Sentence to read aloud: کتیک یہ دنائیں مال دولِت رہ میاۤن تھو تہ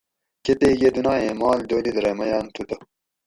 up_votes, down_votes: 4, 0